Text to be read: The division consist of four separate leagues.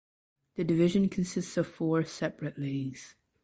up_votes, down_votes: 2, 0